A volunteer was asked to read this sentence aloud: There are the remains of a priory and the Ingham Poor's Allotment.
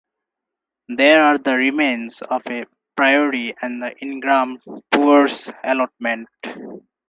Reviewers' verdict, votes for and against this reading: rejected, 0, 2